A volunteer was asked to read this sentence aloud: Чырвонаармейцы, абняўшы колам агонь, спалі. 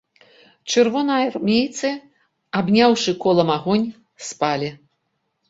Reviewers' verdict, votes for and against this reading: accepted, 2, 0